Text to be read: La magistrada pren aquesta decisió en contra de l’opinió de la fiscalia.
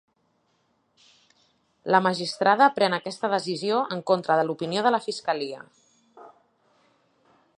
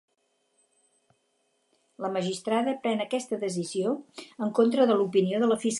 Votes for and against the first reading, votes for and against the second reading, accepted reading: 2, 0, 0, 2, first